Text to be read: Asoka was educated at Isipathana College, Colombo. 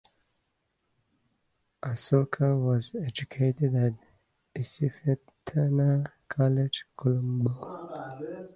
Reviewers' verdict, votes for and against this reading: accepted, 2, 1